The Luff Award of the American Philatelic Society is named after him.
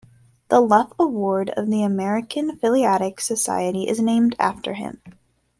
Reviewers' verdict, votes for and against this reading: rejected, 1, 2